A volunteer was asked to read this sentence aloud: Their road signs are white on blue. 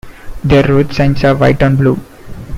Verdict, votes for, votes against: accepted, 2, 0